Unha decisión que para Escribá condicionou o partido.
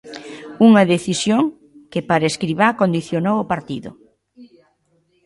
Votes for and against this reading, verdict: 2, 1, accepted